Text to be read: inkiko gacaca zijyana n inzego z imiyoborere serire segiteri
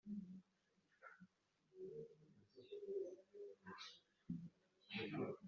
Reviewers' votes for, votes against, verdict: 1, 2, rejected